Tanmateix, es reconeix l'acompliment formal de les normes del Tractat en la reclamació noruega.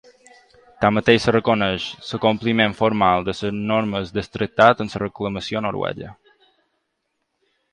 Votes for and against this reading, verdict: 0, 2, rejected